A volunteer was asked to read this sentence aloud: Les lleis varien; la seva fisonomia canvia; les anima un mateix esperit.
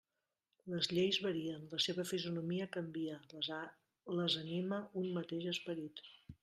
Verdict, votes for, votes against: rejected, 0, 2